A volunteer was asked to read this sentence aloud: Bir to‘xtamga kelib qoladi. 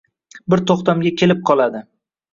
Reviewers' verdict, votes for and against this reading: rejected, 1, 2